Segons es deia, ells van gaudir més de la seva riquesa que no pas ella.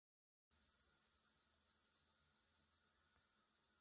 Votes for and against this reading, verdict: 0, 2, rejected